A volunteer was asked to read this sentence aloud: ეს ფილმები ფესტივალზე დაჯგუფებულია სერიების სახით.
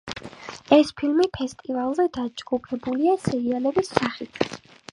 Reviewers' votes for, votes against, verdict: 4, 1, accepted